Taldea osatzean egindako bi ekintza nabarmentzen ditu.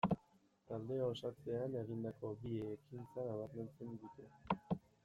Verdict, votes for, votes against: rejected, 0, 2